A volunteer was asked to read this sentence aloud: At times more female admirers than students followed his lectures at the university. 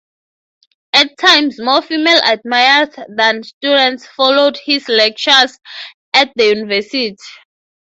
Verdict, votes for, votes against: rejected, 0, 6